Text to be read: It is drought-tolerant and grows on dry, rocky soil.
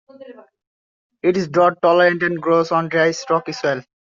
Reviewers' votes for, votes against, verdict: 1, 2, rejected